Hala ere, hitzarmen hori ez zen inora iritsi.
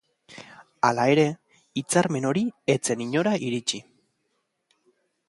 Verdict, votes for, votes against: accepted, 2, 0